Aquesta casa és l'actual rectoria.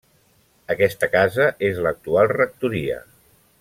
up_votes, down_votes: 3, 0